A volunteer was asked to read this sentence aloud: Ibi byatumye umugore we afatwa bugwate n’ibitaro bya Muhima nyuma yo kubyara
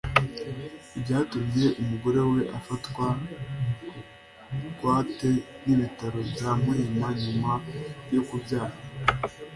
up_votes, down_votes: 2, 1